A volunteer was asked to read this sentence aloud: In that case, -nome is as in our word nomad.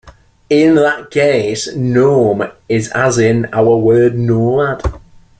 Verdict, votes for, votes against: accepted, 2, 0